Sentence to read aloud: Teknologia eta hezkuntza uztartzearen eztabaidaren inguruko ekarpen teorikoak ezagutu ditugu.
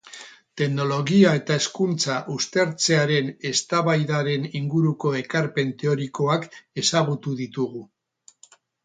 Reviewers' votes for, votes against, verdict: 2, 2, rejected